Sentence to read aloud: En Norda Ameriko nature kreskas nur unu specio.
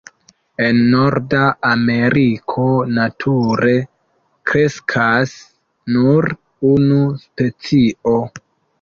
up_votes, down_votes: 1, 2